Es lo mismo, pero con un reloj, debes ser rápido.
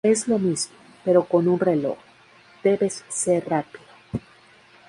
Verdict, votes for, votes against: rejected, 0, 2